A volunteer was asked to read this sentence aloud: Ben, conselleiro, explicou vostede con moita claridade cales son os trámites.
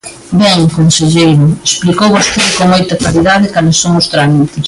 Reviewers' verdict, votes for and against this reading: rejected, 0, 2